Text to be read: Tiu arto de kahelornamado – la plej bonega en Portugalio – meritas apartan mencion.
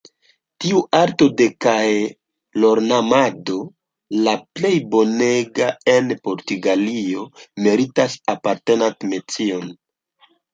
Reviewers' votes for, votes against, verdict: 1, 2, rejected